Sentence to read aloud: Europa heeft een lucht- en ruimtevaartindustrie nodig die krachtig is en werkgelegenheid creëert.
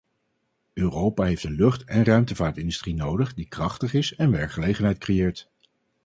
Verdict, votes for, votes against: accepted, 4, 0